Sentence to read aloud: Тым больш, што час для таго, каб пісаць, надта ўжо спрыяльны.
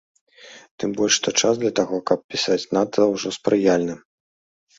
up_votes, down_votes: 2, 0